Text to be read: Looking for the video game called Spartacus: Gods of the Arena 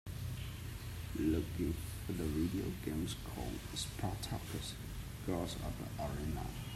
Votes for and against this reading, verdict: 2, 1, accepted